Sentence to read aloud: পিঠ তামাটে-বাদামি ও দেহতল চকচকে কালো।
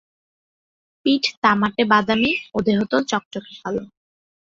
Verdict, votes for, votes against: accepted, 5, 0